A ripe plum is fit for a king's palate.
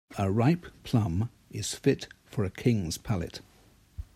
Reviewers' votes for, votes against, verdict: 2, 1, accepted